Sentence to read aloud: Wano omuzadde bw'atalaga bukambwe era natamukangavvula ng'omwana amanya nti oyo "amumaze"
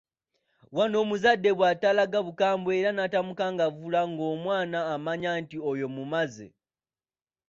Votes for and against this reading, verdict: 0, 2, rejected